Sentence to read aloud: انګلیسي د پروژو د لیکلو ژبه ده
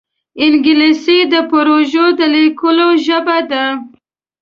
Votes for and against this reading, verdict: 2, 0, accepted